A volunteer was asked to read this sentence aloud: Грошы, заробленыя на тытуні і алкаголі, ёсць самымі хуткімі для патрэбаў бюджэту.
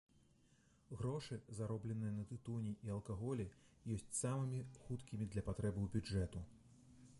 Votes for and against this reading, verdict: 1, 2, rejected